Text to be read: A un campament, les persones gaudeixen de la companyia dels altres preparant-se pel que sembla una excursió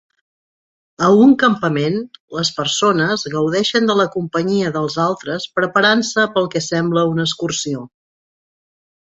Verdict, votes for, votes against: rejected, 1, 2